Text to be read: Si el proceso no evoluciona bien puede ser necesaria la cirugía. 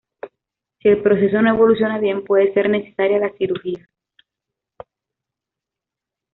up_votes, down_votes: 2, 0